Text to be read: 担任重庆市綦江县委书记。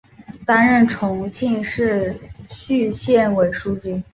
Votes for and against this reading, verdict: 1, 2, rejected